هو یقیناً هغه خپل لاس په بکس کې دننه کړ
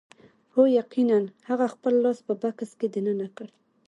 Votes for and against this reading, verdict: 2, 0, accepted